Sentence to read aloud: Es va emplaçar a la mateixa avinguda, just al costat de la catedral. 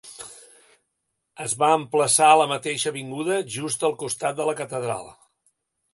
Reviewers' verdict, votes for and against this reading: accepted, 2, 0